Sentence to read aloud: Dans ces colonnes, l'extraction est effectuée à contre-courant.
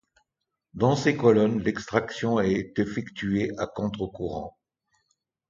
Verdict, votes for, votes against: rejected, 1, 2